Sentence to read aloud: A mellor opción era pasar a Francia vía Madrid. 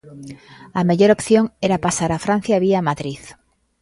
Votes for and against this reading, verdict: 2, 0, accepted